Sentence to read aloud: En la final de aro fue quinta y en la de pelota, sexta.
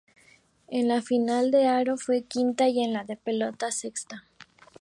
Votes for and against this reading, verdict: 2, 0, accepted